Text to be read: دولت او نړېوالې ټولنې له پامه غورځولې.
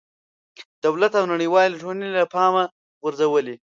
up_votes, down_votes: 2, 0